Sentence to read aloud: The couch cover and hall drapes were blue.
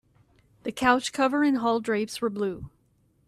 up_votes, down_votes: 2, 0